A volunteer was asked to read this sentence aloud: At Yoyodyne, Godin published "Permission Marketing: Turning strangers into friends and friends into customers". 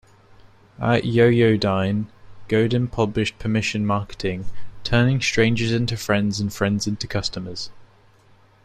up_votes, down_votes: 2, 0